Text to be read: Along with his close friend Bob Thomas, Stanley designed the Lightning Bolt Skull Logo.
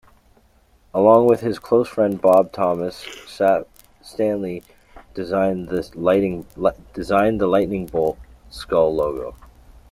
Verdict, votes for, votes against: accepted, 2, 1